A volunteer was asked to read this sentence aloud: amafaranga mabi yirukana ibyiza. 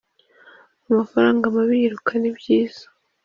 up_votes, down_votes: 2, 0